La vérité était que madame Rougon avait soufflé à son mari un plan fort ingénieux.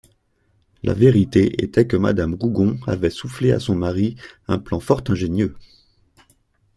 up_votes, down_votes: 2, 0